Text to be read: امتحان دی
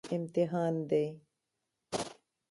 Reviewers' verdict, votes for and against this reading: rejected, 1, 2